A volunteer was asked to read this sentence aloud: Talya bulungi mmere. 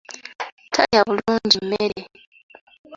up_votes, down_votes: 2, 1